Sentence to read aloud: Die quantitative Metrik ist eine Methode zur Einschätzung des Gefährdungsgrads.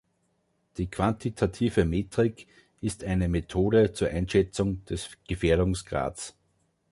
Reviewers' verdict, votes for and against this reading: accepted, 2, 1